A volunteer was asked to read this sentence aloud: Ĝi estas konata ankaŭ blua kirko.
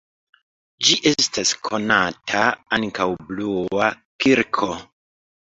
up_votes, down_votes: 2, 0